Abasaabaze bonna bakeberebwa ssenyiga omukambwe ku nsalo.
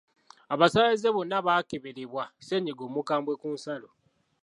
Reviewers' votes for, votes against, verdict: 2, 1, accepted